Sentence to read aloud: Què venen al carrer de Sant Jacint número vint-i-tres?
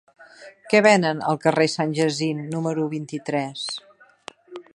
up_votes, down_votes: 1, 3